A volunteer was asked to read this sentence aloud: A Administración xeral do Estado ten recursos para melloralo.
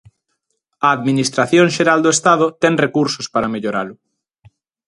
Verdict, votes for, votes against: accepted, 2, 0